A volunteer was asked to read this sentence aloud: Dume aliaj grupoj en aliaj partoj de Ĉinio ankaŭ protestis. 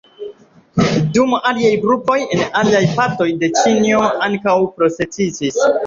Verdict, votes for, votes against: accepted, 2, 0